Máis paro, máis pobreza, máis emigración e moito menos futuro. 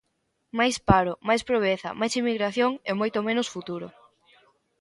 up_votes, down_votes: 1, 2